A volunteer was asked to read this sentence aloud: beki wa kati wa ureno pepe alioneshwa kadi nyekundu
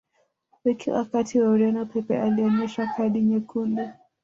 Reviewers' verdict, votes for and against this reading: rejected, 0, 2